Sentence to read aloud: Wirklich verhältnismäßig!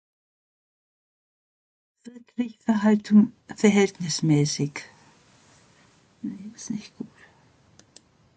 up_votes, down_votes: 0, 2